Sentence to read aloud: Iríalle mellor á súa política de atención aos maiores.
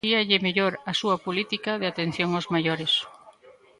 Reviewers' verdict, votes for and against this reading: rejected, 0, 2